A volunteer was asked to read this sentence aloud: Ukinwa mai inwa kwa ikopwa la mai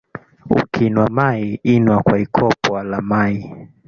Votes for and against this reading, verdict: 1, 2, rejected